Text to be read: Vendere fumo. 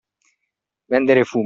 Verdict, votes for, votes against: rejected, 1, 2